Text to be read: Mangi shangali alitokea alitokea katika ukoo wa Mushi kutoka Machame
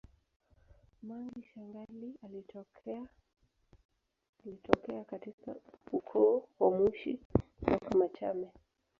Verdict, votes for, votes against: accepted, 2, 1